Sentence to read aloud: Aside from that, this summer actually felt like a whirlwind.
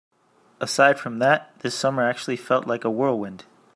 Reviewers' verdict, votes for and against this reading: accepted, 2, 0